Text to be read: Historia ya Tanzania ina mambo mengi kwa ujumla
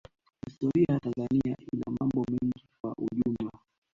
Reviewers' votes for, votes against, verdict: 0, 2, rejected